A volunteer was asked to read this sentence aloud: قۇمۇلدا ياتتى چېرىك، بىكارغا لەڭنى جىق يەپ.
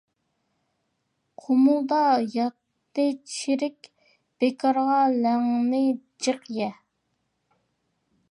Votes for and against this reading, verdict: 0, 2, rejected